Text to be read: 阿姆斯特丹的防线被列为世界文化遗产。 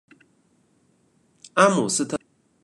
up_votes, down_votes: 0, 2